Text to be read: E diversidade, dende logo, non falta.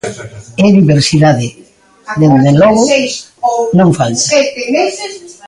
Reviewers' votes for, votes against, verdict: 0, 2, rejected